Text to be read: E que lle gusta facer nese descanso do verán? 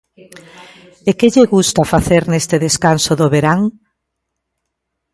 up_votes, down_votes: 1, 2